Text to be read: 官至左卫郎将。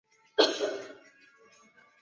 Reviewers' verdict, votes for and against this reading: rejected, 1, 2